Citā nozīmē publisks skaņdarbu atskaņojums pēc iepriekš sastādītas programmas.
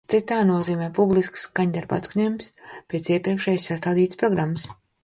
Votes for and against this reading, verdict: 0, 2, rejected